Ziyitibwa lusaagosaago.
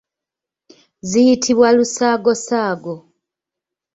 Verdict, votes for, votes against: accepted, 2, 0